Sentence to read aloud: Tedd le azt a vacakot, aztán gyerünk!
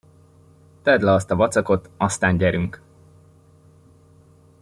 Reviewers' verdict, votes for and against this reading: accepted, 2, 0